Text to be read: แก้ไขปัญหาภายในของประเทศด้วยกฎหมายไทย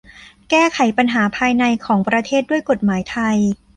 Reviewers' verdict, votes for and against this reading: accepted, 2, 0